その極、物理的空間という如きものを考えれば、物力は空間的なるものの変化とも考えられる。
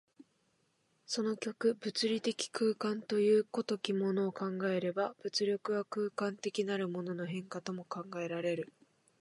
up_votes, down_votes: 2, 1